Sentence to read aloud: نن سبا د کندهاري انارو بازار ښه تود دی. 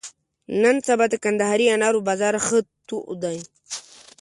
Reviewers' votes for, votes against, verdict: 2, 0, accepted